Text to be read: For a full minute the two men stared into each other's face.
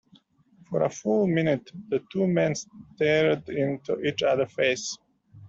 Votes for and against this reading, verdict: 0, 2, rejected